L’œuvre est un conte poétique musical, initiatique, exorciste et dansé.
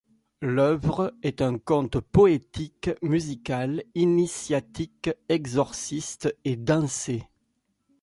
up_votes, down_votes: 2, 0